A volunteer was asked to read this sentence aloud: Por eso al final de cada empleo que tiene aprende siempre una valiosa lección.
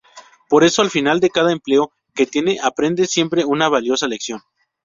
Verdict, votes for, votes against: rejected, 0, 2